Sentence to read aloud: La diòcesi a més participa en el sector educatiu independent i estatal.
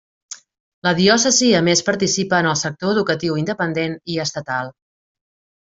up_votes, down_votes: 3, 0